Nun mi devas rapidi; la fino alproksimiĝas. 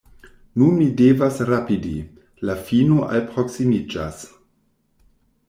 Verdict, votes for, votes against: accepted, 2, 0